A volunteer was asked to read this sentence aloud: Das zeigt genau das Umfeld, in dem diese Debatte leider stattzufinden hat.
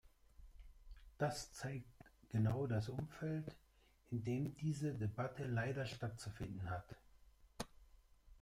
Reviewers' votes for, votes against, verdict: 0, 2, rejected